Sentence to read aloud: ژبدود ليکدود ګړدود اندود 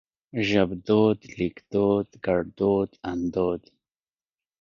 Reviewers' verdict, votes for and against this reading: rejected, 0, 2